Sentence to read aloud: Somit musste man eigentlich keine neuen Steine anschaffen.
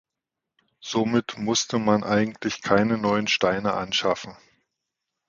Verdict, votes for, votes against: accepted, 2, 0